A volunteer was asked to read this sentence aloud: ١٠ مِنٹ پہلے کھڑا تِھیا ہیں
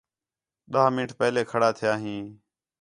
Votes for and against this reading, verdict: 0, 2, rejected